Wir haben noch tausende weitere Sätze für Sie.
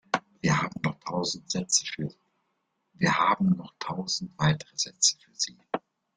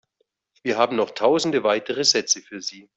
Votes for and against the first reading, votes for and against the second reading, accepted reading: 0, 2, 2, 1, second